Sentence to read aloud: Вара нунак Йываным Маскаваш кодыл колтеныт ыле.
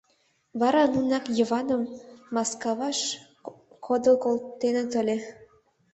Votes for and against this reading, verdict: 1, 2, rejected